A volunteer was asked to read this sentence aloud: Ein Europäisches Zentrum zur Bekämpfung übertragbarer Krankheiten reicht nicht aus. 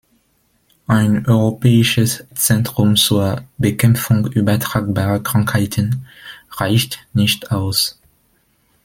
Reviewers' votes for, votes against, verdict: 2, 0, accepted